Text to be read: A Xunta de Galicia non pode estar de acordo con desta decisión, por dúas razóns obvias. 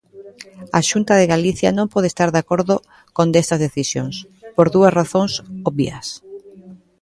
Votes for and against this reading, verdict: 2, 1, accepted